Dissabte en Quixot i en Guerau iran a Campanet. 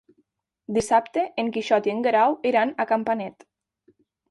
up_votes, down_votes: 3, 0